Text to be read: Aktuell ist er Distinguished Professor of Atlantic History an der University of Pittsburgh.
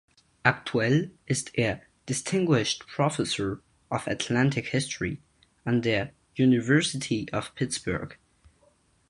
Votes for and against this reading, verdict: 4, 0, accepted